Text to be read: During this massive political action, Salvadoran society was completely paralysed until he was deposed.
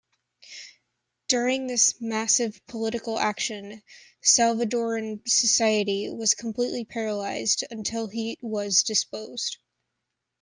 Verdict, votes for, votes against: rejected, 0, 2